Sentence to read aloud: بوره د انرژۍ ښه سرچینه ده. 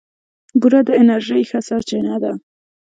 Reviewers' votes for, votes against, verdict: 2, 0, accepted